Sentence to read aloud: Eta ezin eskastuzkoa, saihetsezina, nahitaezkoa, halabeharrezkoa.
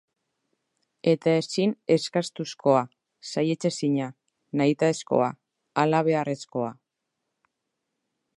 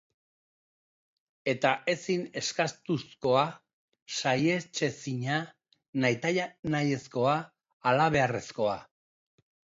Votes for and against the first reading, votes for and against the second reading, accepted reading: 2, 0, 0, 2, first